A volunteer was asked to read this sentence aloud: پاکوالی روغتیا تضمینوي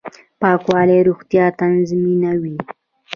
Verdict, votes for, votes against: rejected, 1, 2